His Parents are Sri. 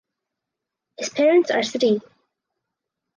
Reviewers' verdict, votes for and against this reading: rejected, 2, 4